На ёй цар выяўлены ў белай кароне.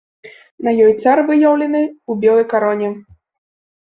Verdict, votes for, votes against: accepted, 2, 0